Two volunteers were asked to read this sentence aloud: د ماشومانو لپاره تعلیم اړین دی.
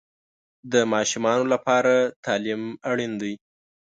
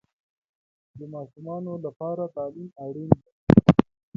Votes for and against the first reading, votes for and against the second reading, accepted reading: 2, 0, 1, 2, first